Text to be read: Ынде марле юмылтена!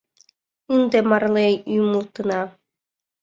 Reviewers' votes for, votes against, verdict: 0, 2, rejected